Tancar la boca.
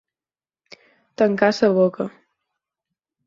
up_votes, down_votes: 0, 4